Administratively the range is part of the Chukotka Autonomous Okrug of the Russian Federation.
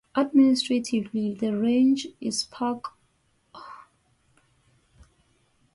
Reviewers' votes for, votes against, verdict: 0, 4, rejected